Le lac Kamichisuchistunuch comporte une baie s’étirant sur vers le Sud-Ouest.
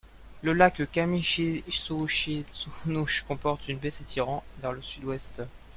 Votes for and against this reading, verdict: 0, 2, rejected